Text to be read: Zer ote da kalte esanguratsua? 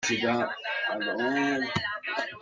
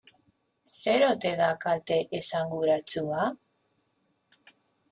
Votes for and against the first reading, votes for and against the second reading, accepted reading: 0, 2, 2, 1, second